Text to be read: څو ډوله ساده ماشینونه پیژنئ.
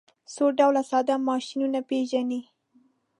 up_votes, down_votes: 1, 2